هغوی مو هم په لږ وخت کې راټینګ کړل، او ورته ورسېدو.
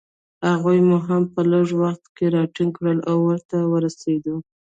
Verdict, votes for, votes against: rejected, 0, 2